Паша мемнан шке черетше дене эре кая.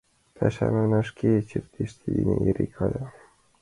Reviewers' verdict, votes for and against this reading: rejected, 0, 2